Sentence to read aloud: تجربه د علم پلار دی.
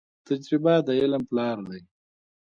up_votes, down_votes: 0, 2